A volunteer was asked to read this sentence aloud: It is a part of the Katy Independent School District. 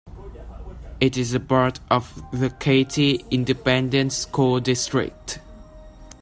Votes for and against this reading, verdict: 2, 0, accepted